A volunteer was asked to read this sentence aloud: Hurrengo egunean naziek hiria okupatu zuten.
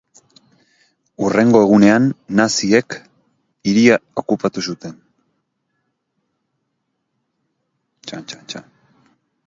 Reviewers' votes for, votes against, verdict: 0, 2, rejected